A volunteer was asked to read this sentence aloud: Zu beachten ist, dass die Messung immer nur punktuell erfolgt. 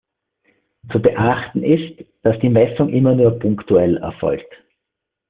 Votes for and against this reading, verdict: 3, 0, accepted